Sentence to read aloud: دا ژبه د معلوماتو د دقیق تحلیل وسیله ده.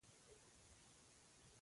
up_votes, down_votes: 1, 2